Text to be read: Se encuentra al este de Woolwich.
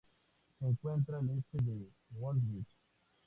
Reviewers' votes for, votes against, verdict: 2, 0, accepted